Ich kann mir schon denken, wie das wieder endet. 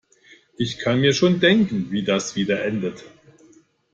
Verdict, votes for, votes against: accepted, 2, 0